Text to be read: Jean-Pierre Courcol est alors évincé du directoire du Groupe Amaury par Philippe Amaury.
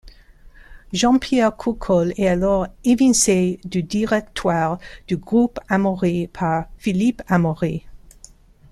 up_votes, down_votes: 2, 0